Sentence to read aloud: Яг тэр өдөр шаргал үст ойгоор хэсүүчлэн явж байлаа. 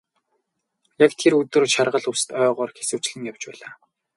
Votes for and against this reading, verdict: 0, 2, rejected